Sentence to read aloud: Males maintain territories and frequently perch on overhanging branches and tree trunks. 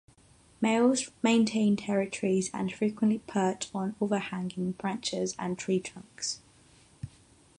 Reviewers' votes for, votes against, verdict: 6, 0, accepted